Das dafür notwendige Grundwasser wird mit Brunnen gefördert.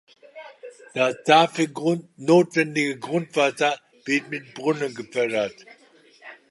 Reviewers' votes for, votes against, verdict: 0, 3, rejected